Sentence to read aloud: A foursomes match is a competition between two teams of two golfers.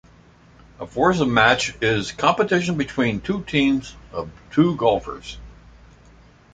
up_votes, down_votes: 2, 1